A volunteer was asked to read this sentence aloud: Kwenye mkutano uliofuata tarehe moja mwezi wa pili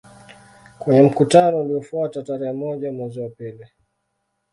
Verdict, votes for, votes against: accepted, 2, 1